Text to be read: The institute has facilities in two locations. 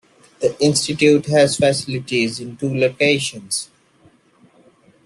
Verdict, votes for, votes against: rejected, 0, 2